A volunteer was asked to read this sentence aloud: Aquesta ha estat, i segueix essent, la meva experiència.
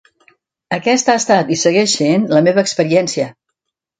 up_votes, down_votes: 2, 0